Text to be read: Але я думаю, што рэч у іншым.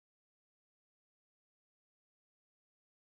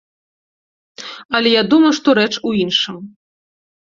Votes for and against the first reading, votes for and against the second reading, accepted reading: 0, 2, 3, 0, second